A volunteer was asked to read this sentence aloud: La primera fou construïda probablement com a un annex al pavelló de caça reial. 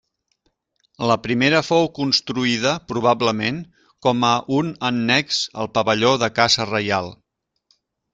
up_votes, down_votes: 3, 1